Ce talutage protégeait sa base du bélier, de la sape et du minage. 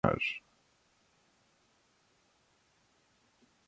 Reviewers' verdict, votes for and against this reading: rejected, 0, 2